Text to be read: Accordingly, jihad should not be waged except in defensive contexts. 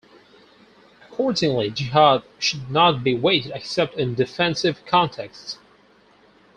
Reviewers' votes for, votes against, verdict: 4, 0, accepted